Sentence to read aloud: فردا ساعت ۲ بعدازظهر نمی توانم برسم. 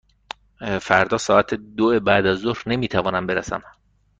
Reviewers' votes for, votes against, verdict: 0, 2, rejected